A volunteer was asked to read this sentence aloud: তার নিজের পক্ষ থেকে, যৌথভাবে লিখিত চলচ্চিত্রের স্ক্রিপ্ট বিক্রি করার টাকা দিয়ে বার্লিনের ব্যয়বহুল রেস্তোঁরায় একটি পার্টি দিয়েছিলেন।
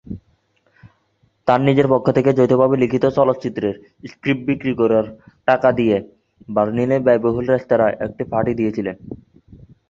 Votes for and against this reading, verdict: 1, 2, rejected